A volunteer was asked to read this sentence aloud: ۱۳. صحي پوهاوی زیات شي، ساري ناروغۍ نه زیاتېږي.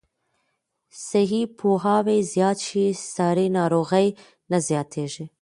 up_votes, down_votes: 0, 2